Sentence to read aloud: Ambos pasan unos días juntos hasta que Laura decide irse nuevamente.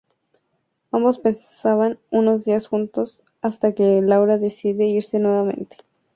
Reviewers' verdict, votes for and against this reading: accepted, 2, 0